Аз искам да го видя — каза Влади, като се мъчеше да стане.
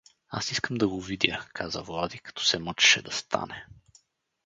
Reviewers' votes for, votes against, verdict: 4, 0, accepted